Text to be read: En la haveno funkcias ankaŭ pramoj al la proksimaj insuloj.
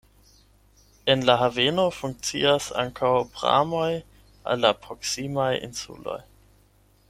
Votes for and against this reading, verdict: 8, 4, accepted